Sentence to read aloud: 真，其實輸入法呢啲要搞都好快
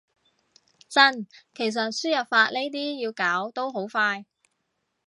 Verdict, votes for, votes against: accepted, 2, 0